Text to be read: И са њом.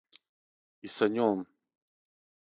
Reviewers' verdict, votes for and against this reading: accepted, 3, 0